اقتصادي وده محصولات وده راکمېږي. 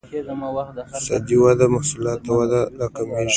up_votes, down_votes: 2, 1